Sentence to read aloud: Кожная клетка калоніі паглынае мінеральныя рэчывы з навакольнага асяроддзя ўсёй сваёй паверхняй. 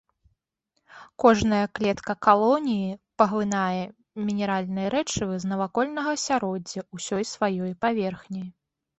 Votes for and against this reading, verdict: 2, 0, accepted